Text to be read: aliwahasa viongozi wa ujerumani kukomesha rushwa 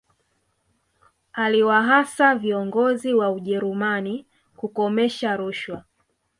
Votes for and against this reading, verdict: 2, 0, accepted